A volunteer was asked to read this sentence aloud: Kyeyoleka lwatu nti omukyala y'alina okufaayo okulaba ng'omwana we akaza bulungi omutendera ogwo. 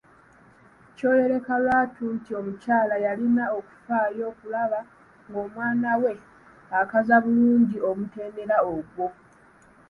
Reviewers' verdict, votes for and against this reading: rejected, 1, 2